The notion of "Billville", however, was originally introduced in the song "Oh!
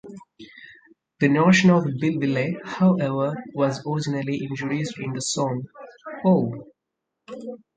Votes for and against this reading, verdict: 0, 4, rejected